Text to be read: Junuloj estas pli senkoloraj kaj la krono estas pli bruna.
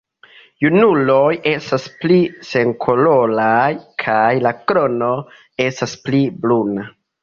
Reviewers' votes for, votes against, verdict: 0, 2, rejected